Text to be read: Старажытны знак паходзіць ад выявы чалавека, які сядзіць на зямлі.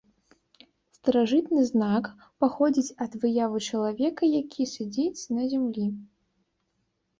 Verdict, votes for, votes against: accepted, 2, 0